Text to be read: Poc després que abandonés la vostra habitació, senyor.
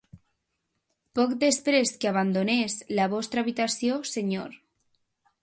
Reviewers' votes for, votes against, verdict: 3, 1, accepted